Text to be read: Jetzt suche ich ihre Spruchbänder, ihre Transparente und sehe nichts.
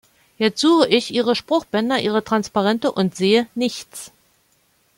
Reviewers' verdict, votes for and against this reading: accepted, 2, 0